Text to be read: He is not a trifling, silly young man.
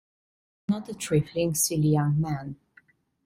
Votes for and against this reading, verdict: 1, 2, rejected